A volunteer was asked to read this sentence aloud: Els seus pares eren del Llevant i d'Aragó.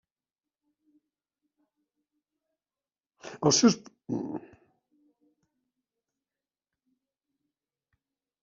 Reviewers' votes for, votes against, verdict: 0, 2, rejected